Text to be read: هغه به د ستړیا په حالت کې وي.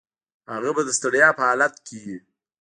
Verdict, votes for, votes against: accepted, 2, 0